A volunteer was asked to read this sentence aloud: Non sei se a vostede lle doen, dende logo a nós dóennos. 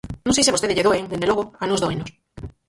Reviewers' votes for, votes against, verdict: 0, 4, rejected